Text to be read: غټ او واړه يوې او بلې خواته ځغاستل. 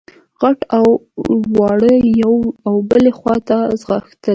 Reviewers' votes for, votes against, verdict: 2, 0, accepted